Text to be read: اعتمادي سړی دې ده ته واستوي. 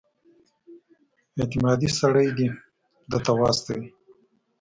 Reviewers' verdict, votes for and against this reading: rejected, 1, 2